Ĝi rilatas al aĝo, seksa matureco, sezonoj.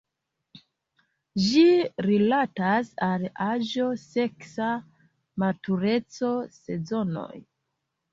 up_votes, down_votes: 2, 0